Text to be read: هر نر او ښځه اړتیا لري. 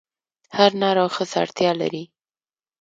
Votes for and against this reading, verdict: 2, 0, accepted